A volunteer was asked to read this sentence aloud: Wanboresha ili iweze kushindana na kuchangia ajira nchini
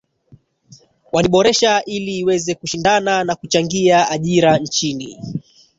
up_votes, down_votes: 1, 2